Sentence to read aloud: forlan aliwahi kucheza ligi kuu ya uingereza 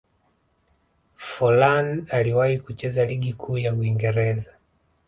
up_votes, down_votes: 2, 1